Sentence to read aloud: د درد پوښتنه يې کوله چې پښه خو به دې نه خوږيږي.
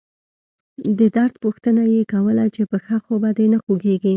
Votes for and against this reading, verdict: 2, 0, accepted